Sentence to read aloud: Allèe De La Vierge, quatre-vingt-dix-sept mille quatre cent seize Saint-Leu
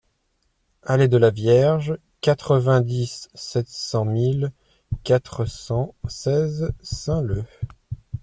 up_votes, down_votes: 0, 2